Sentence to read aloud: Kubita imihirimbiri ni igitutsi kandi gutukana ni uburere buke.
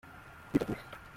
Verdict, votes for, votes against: rejected, 0, 2